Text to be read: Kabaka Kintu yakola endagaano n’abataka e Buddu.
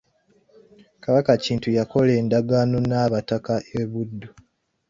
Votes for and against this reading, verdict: 1, 2, rejected